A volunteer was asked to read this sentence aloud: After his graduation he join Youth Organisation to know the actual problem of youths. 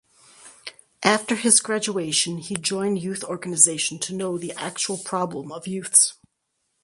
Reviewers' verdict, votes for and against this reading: accepted, 4, 0